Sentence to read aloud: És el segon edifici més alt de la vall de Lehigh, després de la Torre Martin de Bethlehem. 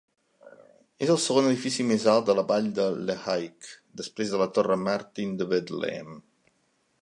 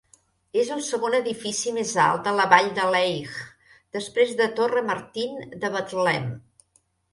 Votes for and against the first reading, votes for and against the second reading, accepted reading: 2, 0, 0, 2, first